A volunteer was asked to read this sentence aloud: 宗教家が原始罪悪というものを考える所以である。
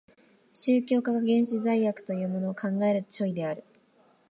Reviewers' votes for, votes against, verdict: 1, 2, rejected